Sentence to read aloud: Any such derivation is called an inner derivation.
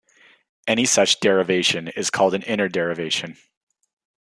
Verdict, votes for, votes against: rejected, 1, 2